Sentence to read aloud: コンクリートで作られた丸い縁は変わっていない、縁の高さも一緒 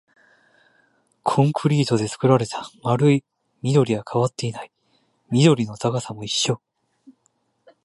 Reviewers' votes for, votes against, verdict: 1, 2, rejected